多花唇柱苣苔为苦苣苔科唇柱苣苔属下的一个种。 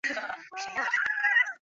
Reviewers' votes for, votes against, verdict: 0, 2, rejected